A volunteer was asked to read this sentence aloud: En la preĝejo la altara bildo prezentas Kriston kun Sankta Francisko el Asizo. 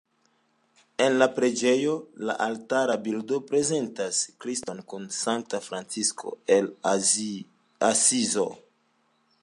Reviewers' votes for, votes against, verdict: 2, 1, accepted